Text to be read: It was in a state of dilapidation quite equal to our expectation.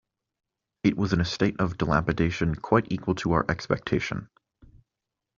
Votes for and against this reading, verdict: 2, 0, accepted